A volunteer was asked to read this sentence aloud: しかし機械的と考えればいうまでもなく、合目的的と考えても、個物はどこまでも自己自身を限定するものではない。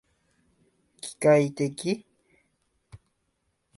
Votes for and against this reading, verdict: 2, 2, rejected